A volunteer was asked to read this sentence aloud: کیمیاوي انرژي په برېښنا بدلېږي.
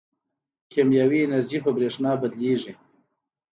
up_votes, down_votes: 2, 0